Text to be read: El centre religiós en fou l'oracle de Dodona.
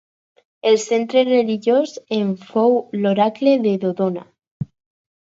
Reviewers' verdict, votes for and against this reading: accepted, 4, 0